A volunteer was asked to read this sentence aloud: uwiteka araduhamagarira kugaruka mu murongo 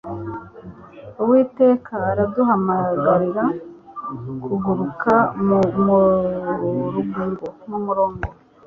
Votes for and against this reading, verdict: 0, 2, rejected